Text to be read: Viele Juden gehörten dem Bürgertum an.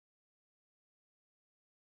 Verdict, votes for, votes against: rejected, 0, 2